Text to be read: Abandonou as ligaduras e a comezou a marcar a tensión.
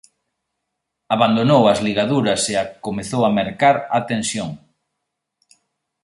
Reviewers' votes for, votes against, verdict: 2, 3, rejected